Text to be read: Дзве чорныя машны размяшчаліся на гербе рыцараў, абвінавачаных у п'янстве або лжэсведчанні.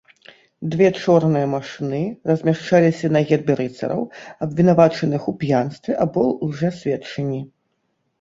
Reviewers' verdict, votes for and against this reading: rejected, 0, 2